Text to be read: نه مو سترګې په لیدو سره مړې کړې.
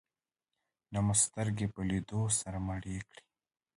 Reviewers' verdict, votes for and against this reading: accepted, 2, 1